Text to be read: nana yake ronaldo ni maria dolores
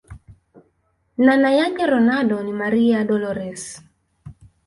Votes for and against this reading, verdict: 2, 1, accepted